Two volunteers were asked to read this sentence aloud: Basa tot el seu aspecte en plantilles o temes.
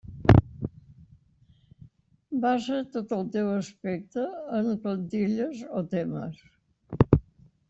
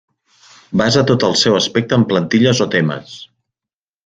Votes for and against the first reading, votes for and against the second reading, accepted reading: 1, 2, 3, 0, second